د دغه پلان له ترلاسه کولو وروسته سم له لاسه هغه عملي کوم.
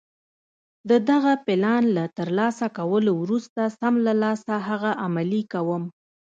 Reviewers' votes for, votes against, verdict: 2, 1, accepted